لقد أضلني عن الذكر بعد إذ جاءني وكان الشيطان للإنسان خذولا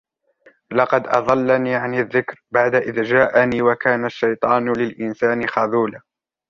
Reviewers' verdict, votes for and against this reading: rejected, 0, 2